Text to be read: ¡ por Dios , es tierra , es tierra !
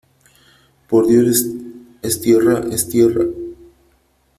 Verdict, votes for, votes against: accepted, 3, 0